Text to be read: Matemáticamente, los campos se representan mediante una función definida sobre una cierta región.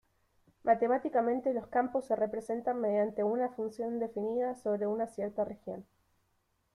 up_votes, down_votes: 1, 2